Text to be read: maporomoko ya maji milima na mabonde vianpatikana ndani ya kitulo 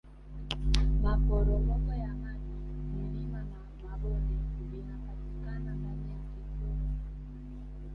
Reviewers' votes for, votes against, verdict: 1, 2, rejected